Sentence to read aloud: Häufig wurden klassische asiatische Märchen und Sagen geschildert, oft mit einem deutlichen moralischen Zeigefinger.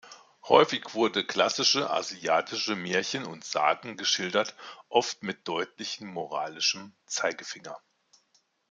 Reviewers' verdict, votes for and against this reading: rejected, 0, 2